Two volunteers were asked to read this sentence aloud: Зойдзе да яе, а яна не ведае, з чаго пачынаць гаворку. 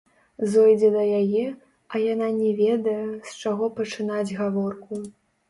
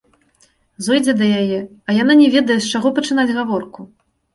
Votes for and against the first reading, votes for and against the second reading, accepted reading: 0, 2, 2, 0, second